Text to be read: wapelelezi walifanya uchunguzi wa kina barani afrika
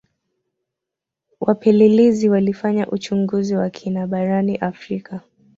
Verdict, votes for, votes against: accepted, 2, 0